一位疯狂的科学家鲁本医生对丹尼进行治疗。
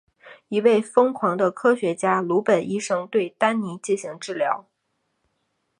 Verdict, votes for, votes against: accepted, 4, 0